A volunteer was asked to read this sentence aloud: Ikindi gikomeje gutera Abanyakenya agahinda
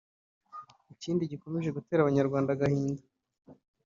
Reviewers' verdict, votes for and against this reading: rejected, 1, 2